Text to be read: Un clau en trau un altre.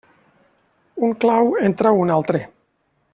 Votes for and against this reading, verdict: 2, 0, accepted